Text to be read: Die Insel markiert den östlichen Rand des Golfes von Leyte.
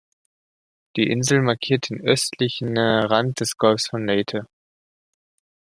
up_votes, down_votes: 2, 0